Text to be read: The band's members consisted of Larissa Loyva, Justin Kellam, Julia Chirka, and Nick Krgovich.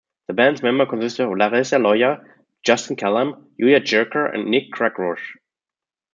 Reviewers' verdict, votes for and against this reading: rejected, 0, 2